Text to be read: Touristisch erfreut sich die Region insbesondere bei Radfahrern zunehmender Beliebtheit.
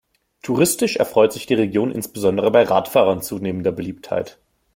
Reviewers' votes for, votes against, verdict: 2, 0, accepted